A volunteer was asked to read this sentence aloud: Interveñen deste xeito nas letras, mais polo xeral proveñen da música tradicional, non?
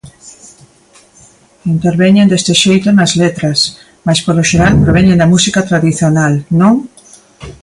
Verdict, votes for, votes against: accepted, 2, 0